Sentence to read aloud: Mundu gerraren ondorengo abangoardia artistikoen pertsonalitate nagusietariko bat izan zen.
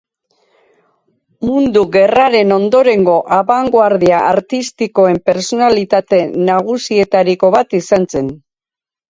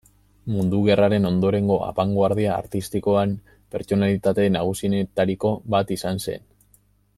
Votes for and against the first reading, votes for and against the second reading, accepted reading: 2, 0, 0, 2, first